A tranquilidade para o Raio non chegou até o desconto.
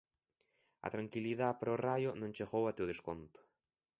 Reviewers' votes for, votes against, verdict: 0, 2, rejected